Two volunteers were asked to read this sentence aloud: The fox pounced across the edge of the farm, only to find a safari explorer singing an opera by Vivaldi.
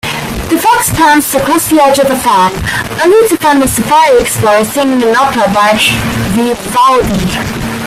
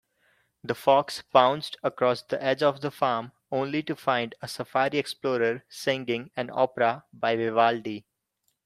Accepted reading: second